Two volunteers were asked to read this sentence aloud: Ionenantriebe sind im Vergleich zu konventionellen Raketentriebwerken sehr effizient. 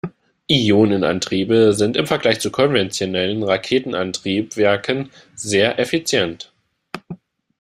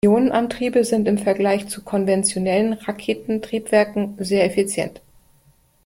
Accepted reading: second